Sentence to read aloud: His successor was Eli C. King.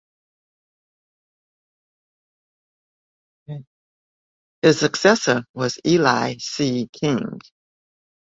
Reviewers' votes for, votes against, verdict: 1, 2, rejected